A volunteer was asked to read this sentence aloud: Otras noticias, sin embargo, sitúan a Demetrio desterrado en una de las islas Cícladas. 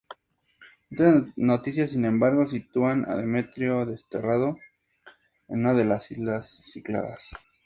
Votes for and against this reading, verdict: 2, 0, accepted